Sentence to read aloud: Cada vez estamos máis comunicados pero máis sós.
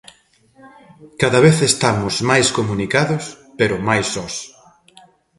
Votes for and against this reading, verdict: 1, 2, rejected